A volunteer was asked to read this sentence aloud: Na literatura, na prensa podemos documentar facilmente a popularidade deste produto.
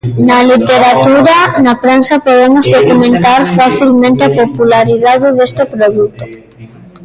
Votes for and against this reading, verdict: 1, 2, rejected